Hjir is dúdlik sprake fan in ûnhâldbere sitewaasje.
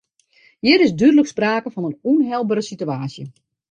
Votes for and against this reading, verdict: 0, 2, rejected